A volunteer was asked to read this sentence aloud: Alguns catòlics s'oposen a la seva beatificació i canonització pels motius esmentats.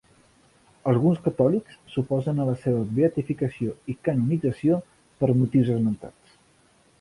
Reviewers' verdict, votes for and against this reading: rejected, 0, 2